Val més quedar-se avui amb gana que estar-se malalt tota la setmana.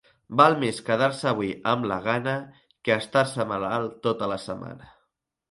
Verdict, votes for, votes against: rejected, 0, 2